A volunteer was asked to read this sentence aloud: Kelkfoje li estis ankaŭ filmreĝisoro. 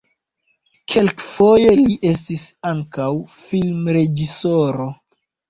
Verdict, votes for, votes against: rejected, 1, 2